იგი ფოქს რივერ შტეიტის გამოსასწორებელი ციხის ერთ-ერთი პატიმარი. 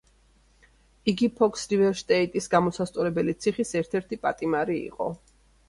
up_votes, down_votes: 1, 2